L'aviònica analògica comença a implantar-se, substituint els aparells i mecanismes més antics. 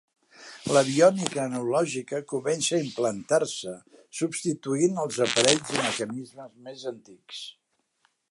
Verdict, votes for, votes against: rejected, 1, 2